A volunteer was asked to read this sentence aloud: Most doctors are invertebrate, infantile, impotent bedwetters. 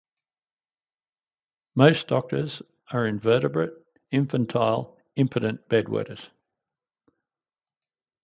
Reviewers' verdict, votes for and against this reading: accepted, 4, 0